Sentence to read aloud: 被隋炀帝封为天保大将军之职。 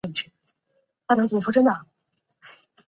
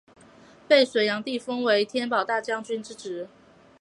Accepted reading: second